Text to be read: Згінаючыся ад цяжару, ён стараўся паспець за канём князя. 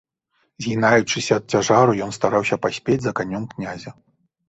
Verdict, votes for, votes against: accepted, 2, 0